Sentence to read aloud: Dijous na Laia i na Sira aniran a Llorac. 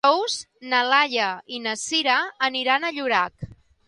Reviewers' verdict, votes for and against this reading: rejected, 0, 2